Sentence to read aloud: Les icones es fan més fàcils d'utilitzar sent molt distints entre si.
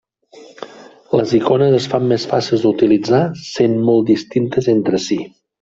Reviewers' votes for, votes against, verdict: 1, 2, rejected